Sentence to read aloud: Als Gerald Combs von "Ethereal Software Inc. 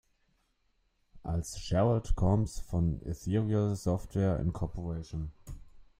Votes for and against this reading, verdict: 1, 2, rejected